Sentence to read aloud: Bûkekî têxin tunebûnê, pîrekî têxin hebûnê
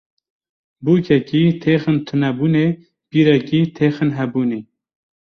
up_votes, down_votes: 2, 0